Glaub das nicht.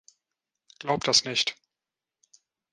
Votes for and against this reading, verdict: 2, 0, accepted